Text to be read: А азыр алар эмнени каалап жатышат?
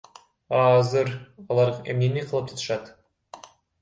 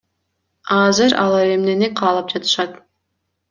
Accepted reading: second